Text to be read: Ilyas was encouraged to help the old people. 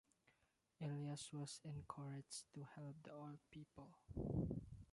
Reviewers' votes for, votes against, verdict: 1, 2, rejected